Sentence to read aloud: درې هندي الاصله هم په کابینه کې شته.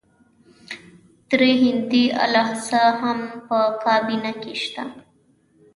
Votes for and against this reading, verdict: 1, 2, rejected